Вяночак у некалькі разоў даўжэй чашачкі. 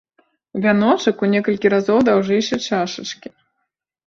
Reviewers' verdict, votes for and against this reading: rejected, 0, 2